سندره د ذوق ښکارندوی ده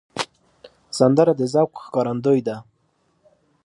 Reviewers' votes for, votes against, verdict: 2, 0, accepted